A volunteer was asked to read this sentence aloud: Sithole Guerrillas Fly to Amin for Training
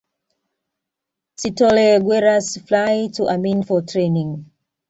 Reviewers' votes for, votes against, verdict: 2, 1, accepted